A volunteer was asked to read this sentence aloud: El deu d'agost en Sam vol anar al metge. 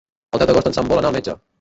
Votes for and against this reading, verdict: 1, 2, rejected